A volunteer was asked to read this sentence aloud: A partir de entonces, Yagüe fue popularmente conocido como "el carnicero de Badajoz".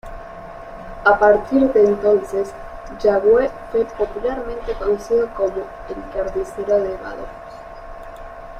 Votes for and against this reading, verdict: 1, 2, rejected